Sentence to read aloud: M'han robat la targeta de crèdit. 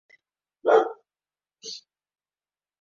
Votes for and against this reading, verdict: 0, 4, rejected